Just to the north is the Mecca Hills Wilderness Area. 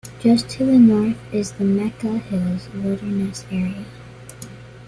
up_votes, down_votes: 2, 0